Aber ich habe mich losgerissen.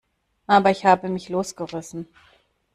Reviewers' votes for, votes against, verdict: 2, 0, accepted